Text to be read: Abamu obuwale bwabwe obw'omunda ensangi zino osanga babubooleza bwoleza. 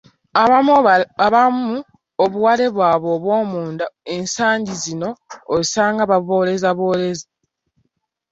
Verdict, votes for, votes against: rejected, 0, 2